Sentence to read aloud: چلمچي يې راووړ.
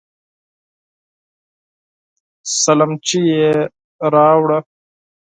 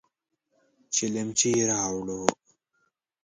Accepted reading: second